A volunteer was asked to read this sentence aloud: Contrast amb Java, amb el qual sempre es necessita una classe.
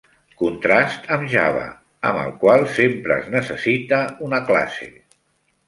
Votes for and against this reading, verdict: 3, 0, accepted